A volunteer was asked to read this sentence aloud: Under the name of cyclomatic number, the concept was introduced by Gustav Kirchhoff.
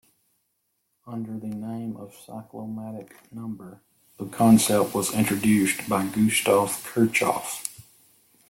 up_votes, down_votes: 0, 2